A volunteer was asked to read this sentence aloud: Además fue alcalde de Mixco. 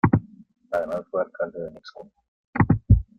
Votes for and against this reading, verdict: 2, 1, accepted